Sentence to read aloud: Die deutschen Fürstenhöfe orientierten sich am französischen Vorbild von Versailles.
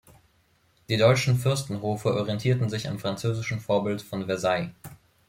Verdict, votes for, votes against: rejected, 0, 2